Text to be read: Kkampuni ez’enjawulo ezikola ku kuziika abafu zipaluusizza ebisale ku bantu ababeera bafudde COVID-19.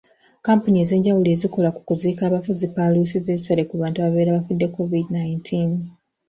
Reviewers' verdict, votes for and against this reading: rejected, 0, 2